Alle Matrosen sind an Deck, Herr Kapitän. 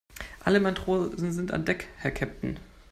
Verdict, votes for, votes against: rejected, 0, 2